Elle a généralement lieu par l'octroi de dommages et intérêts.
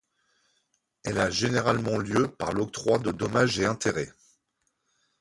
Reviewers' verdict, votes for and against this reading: rejected, 0, 2